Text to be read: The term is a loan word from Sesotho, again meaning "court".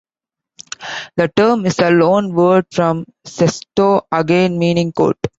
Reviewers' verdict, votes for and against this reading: rejected, 1, 2